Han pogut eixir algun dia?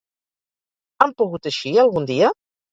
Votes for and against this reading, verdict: 0, 2, rejected